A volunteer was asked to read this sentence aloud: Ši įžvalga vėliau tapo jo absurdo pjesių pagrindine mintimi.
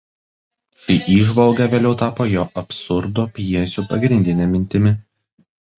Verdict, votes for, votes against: rejected, 1, 2